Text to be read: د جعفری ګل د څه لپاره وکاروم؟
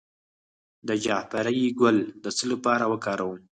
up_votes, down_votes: 2, 4